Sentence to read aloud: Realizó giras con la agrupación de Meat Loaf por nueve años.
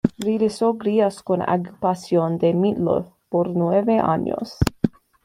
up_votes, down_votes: 1, 2